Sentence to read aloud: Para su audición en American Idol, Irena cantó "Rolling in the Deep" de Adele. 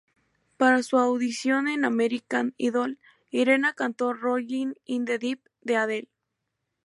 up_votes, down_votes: 2, 0